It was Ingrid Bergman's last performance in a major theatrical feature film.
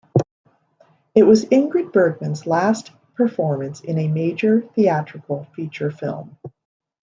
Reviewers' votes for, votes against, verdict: 2, 0, accepted